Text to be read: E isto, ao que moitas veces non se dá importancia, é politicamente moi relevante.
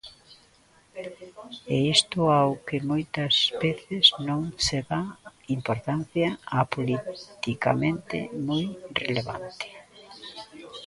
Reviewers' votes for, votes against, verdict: 0, 2, rejected